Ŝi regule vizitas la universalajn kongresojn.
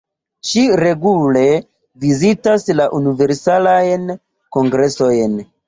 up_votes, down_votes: 1, 2